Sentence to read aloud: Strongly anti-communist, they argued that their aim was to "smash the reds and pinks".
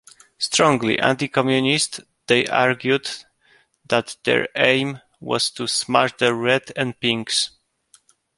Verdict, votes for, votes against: rejected, 0, 2